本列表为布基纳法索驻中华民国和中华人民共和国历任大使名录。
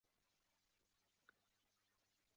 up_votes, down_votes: 0, 4